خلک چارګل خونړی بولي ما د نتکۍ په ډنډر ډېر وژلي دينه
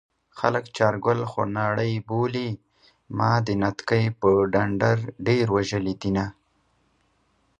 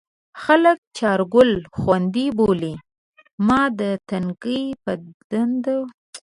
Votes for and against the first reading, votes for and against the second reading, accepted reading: 2, 1, 0, 2, first